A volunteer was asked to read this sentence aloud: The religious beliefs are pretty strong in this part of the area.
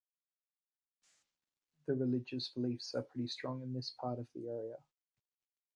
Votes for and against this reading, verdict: 0, 2, rejected